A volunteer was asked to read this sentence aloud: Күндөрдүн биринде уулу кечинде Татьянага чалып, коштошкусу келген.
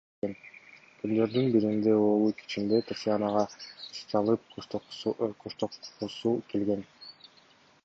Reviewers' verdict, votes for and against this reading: rejected, 1, 2